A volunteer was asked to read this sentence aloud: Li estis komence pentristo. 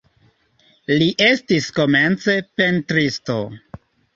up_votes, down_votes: 2, 0